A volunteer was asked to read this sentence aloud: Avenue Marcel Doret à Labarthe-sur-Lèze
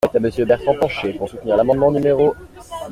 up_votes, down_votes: 0, 2